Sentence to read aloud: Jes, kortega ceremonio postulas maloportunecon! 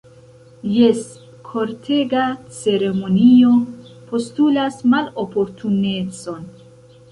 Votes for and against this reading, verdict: 2, 0, accepted